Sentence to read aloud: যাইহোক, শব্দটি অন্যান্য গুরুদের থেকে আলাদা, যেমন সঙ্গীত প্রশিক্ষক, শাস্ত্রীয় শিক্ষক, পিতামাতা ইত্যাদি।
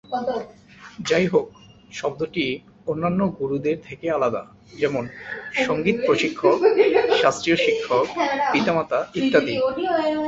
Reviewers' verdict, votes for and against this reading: rejected, 2, 3